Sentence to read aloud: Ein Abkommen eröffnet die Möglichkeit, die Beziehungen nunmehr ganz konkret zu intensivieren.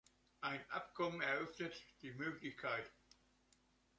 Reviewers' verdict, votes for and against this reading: rejected, 0, 2